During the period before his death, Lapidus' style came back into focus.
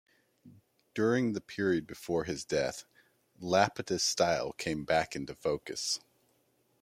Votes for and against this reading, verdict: 2, 0, accepted